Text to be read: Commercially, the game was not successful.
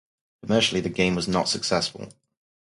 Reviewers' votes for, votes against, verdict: 4, 2, accepted